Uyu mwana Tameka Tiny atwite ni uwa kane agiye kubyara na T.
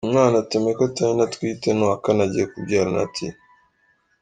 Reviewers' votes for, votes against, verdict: 2, 0, accepted